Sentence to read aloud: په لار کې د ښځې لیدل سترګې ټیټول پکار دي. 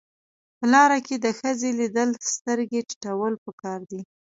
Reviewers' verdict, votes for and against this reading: accepted, 2, 0